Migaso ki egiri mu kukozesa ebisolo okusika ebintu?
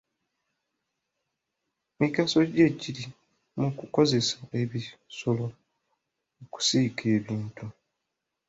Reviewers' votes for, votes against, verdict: 0, 2, rejected